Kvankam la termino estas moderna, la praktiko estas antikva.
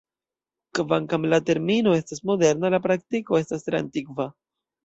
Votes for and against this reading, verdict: 2, 0, accepted